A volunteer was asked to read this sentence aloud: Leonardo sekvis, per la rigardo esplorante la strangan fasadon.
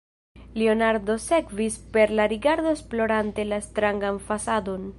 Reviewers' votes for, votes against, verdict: 1, 2, rejected